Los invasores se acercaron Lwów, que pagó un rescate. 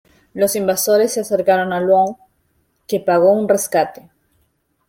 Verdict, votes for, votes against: accepted, 2, 0